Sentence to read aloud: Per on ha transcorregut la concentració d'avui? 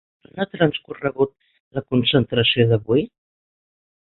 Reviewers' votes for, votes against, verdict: 2, 4, rejected